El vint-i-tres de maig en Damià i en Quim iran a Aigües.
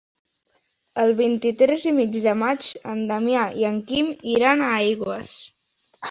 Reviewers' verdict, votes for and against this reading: rejected, 1, 2